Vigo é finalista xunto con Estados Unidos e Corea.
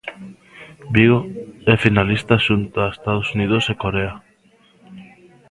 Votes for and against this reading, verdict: 0, 2, rejected